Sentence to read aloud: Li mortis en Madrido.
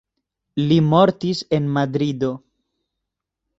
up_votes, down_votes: 2, 0